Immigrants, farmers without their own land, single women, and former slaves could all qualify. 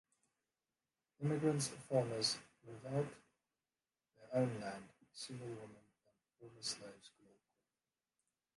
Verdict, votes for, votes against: rejected, 0, 3